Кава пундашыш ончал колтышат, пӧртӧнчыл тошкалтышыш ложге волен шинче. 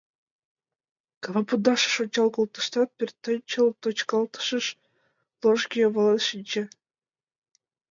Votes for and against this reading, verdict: 0, 2, rejected